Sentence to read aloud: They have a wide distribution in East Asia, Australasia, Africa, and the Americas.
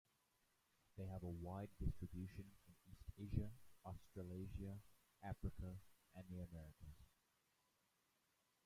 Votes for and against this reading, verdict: 1, 2, rejected